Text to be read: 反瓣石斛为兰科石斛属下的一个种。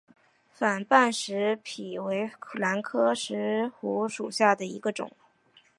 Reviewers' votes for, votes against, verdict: 0, 3, rejected